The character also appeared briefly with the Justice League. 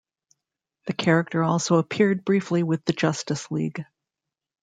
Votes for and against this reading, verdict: 0, 2, rejected